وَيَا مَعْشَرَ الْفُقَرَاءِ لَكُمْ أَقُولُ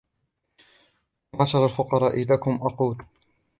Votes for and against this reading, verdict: 2, 0, accepted